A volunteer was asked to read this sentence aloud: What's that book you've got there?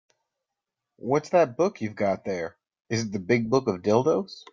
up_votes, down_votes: 0, 2